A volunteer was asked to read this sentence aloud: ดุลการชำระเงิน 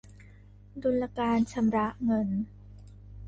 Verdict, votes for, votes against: rejected, 1, 2